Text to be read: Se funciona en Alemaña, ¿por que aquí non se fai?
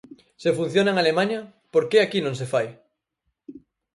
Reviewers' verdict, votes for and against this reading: accepted, 4, 0